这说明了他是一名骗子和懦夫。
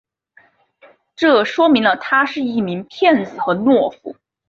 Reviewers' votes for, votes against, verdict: 6, 2, accepted